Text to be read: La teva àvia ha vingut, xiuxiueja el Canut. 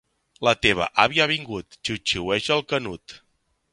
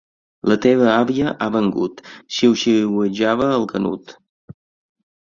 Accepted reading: first